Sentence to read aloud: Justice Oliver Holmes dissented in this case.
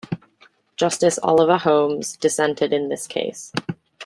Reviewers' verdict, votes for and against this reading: accepted, 2, 1